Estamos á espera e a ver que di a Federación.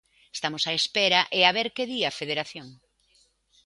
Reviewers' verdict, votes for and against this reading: accepted, 2, 0